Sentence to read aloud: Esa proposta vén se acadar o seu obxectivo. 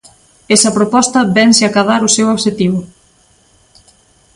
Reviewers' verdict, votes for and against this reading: accepted, 2, 0